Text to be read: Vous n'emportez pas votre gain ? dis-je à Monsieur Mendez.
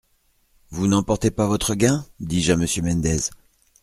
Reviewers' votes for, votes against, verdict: 2, 0, accepted